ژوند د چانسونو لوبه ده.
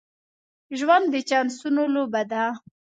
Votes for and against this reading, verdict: 2, 0, accepted